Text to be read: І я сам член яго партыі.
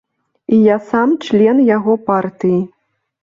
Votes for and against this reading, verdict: 2, 0, accepted